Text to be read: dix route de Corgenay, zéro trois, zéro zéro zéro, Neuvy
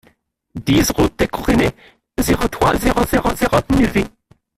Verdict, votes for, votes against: rejected, 0, 2